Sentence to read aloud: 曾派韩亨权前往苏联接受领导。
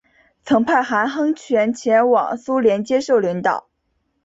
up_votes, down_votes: 2, 1